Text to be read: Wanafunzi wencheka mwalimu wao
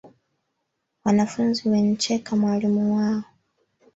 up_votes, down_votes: 3, 1